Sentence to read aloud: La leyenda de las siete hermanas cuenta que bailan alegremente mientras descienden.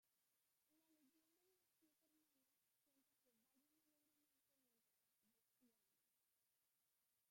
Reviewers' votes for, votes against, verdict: 0, 2, rejected